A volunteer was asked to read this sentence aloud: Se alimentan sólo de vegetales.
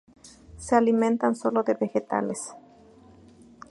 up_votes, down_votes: 4, 0